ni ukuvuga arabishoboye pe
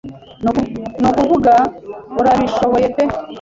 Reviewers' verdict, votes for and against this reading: rejected, 1, 2